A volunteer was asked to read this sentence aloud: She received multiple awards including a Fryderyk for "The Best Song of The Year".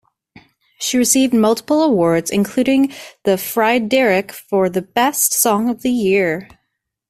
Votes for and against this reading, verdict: 0, 2, rejected